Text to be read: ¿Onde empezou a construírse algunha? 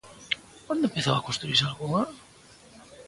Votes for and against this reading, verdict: 2, 0, accepted